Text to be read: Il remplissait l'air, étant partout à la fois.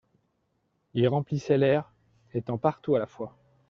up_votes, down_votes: 2, 0